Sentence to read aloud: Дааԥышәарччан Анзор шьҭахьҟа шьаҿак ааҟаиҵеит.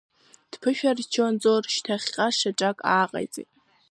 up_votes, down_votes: 0, 2